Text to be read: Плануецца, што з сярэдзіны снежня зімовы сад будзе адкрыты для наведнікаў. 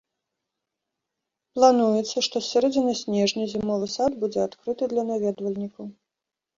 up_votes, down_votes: 1, 2